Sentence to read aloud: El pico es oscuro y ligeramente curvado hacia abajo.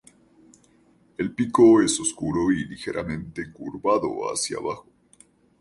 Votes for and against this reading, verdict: 4, 0, accepted